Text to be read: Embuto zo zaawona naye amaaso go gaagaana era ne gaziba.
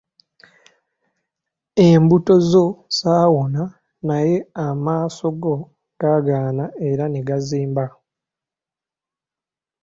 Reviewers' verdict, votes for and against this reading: rejected, 0, 2